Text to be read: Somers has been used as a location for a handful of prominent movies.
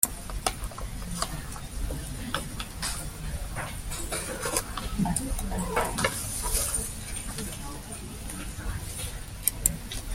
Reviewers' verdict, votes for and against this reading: rejected, 0, 2